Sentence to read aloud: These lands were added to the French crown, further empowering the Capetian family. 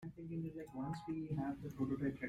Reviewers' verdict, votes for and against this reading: rejected, 0, 2